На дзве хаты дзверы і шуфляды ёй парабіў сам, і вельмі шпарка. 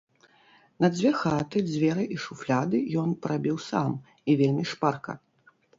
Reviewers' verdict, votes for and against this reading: rejected, 0, 2